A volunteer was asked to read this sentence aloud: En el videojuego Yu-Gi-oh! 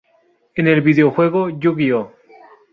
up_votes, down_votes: 2, 0